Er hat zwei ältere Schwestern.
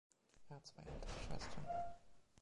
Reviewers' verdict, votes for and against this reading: rejected, 2, 3